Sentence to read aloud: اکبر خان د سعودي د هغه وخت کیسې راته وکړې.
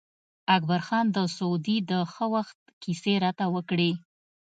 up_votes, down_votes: 1, 2